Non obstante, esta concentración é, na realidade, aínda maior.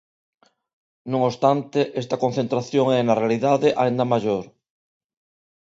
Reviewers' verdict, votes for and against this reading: accepted, 2, 0